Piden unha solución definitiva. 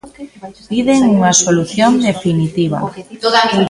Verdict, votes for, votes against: accepted, 2, 1